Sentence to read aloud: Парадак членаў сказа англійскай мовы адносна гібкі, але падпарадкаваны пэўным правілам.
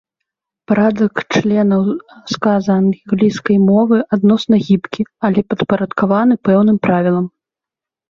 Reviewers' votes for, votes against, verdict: 1, 2, rejected